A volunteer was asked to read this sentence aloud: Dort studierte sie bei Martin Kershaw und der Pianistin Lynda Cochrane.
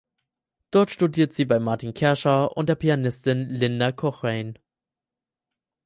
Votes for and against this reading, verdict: 2, 4, rejected